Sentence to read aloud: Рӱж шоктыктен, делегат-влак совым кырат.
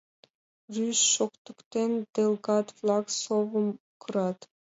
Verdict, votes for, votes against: rejected, 0, 2